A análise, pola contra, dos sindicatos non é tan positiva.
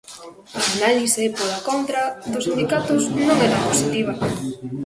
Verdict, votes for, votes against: rejected, 0, 2